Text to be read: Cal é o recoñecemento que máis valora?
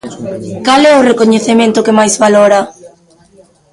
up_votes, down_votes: 1, 2